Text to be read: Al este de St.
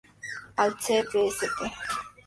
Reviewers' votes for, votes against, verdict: 2, 0, accepted